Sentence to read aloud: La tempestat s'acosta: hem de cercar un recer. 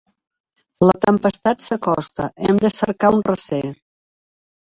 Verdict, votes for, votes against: rejected, 0, 2